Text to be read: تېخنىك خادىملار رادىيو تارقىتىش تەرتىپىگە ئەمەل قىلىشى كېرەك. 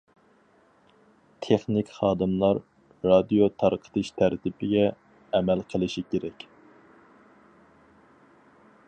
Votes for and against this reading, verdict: 4, 0, accepted